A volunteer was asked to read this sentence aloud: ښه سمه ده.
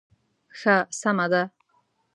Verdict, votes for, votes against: accepted, 2, 0